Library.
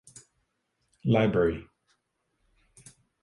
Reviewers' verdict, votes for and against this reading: accepted, 4, 0